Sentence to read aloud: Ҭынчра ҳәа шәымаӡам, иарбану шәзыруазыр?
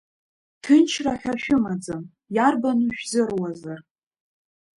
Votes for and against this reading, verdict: 0, 2, rejected